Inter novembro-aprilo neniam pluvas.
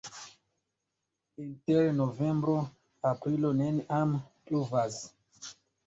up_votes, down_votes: 2, 1